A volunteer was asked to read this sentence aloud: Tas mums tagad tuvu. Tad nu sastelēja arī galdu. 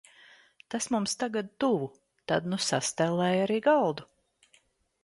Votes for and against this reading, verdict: 2, 0, accepted